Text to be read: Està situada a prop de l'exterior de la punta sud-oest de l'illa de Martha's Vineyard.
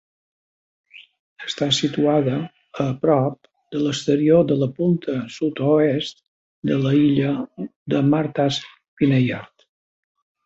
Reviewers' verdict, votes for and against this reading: rejected, 0, 2